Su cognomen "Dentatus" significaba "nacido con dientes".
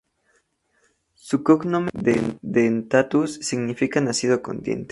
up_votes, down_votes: 2, 0